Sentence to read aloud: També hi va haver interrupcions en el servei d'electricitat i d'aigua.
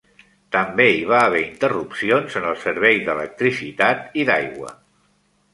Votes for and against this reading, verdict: 3, 0, accepted